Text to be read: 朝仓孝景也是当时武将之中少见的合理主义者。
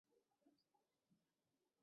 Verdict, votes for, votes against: rejected, 0, 2